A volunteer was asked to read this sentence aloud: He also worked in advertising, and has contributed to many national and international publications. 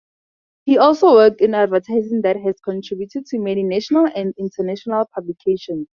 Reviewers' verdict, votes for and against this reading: rejected, 0, 2